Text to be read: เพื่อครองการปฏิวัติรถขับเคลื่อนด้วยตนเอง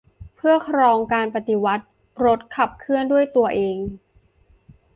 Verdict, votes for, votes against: rejected, 0, 3